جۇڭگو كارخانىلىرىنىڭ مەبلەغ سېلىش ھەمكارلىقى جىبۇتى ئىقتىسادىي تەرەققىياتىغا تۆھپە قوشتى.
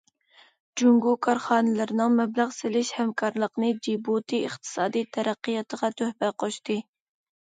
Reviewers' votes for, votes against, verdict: 1, 2, rejected